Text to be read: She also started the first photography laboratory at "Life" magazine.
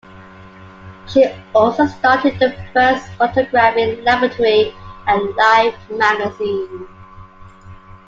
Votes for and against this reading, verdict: 2, 1, accepted